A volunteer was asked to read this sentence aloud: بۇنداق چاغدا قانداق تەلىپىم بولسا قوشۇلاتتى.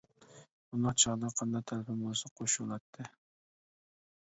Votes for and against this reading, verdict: 1, 2, rejected